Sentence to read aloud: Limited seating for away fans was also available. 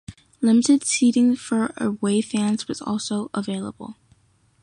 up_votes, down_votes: 1, 2